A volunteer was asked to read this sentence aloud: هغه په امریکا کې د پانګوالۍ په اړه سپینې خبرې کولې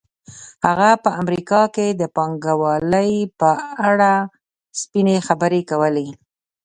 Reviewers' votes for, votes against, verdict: 2, 0, accepted